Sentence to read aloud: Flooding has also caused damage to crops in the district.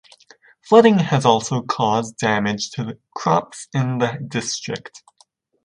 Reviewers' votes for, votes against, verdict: 1, 2, rejected